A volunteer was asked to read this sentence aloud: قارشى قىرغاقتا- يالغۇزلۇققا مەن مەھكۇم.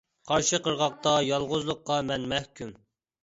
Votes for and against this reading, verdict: 2, 1, accepted